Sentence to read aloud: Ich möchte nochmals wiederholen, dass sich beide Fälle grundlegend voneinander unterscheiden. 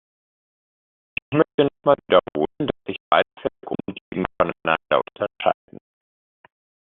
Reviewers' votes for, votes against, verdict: 0, 2, rejected